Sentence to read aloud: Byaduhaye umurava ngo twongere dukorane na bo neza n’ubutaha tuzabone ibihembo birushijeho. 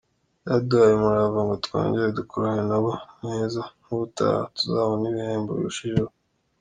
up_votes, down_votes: 2, 0